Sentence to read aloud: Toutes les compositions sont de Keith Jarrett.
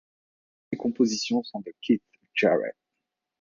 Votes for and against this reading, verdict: 0, 2, rejected